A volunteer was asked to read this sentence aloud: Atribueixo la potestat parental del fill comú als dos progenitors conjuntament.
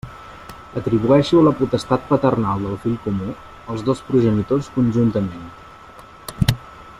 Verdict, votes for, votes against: rejected, 0, 2